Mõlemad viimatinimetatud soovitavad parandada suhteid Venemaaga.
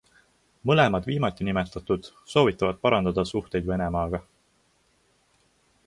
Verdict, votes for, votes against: accepted, 2, 0